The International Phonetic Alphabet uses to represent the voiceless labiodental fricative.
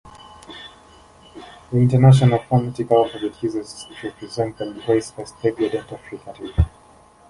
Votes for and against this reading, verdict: 0, 2, rejected